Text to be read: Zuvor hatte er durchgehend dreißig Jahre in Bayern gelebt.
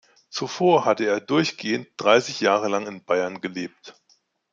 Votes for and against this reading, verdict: 1, 2, rejected